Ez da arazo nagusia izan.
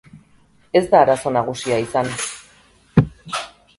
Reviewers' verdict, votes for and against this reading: rejected, 2, 2